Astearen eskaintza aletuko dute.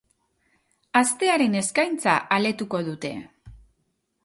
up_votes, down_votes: 2, 0